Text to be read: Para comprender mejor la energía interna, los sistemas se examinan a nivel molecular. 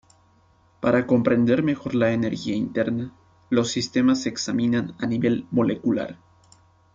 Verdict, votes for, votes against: accepted, 2, 0